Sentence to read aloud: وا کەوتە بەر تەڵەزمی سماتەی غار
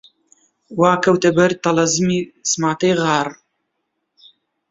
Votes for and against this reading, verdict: 2, 1, accepted